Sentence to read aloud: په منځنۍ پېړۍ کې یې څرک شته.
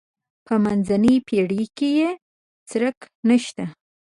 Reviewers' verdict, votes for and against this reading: rejected, 1, 2